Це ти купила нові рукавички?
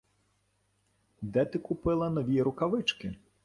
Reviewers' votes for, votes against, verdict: 0, 2, rejected